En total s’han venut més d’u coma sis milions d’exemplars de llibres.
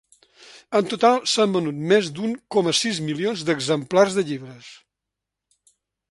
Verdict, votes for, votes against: rejected, 0, 2